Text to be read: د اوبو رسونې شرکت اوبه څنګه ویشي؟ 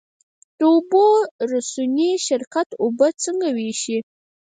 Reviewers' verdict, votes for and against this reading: rejected, 0, 4